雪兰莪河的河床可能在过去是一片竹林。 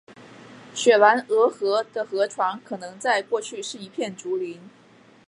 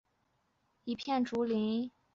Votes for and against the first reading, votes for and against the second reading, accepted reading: 2, 0, 0, 2, first